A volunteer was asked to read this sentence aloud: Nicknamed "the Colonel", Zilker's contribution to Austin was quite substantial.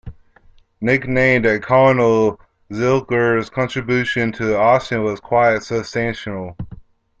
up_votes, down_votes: 2, 0